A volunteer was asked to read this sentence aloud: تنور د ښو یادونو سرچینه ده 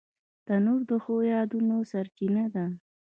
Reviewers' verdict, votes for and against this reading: accepted, 2, 1